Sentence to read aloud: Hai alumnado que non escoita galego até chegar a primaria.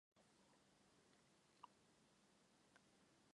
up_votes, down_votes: 0, 4